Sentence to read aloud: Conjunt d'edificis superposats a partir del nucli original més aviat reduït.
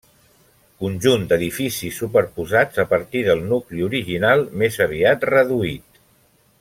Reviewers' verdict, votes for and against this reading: rejected, 0, 2